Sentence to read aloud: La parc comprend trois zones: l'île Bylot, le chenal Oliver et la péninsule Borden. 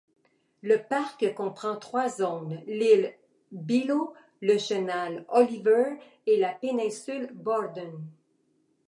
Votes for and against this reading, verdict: 2, 1, accepted